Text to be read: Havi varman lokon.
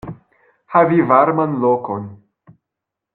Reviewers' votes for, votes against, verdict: 2, 0, accepted